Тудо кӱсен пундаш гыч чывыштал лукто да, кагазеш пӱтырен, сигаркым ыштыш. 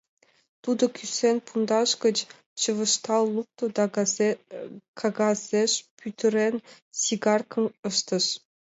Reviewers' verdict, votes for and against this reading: accepted, 3, 1